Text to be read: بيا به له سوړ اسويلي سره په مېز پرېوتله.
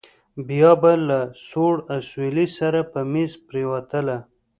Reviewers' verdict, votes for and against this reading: rejected, 0, 2